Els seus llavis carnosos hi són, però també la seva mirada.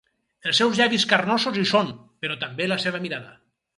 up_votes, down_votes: 4, 0